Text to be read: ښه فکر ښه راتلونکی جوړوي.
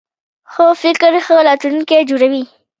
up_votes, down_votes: 2, 1